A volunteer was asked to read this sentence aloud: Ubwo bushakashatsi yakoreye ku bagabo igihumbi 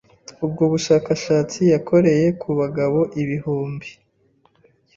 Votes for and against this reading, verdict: 0, 2, rejected